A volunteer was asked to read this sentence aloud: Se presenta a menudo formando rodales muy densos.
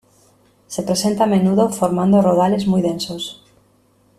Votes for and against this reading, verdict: 2, 0, accepted